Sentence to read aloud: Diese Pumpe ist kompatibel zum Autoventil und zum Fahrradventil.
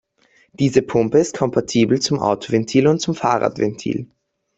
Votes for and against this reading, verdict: 2, 0, accepted